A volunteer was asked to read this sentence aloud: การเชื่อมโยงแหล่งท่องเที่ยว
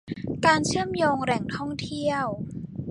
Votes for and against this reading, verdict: 2, 0, accepted